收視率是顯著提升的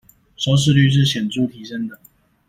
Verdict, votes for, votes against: accepted, 2, 0